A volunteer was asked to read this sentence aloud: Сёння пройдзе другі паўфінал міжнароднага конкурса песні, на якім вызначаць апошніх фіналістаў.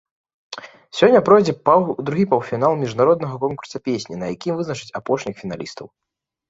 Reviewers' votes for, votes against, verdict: 2, 3, rejected